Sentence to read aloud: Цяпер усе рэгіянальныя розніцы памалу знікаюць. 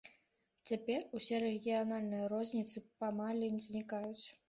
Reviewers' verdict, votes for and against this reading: rejected, 0, 2